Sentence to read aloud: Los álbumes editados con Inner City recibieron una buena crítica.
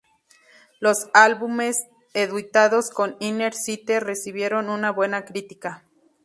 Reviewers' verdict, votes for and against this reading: rejected, 0, 4